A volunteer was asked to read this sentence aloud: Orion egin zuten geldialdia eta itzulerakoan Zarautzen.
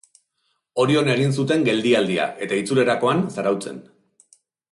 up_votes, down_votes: 2, 0